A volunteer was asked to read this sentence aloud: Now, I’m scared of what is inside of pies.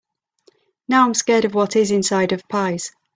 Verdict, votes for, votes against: accepted, 3, 0